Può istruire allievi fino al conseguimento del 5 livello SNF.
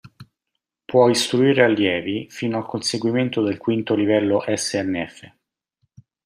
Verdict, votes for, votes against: rejected, 0, 2